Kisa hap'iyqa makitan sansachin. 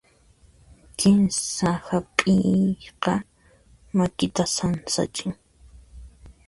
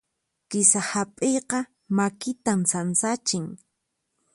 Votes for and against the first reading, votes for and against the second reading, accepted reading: 0, 2, 4, 0, second